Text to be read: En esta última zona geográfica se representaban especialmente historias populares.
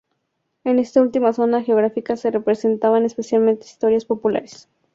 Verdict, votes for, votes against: accepted, 2, 0